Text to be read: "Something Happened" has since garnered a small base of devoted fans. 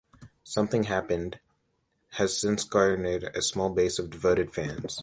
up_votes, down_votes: 2, 0